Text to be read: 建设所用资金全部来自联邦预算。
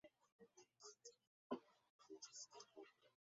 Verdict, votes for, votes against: rejected, 0, 2